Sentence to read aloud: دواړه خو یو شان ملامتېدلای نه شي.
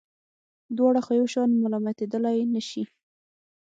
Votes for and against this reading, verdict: 3, 6, rejected